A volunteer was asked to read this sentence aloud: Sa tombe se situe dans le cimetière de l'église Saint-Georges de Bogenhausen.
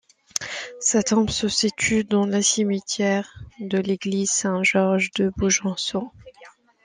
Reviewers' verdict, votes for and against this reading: rejected, 0, 2